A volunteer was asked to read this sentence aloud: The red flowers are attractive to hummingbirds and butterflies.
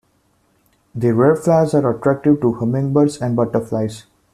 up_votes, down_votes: 2, 0